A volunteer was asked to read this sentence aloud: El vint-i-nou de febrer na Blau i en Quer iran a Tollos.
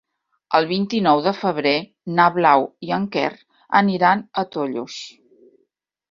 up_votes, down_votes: 0, 2